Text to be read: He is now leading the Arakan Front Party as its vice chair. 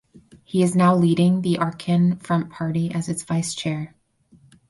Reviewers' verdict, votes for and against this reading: rejected, 2, 4